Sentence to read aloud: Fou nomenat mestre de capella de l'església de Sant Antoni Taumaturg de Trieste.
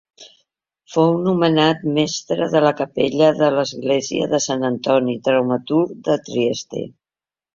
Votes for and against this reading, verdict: 1, 2, rejected